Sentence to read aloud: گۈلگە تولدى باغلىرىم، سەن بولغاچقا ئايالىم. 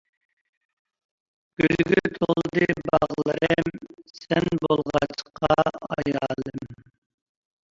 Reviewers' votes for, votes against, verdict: 0, 2, rejected